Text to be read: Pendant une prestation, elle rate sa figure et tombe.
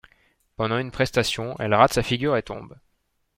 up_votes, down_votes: 2, 0